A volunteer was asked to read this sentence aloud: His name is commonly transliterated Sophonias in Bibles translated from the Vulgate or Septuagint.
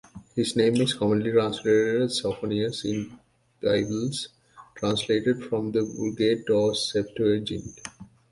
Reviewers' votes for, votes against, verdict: 1, 2, rejected